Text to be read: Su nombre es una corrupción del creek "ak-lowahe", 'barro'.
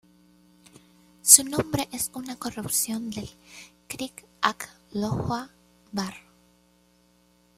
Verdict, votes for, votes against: rejected, 0, 2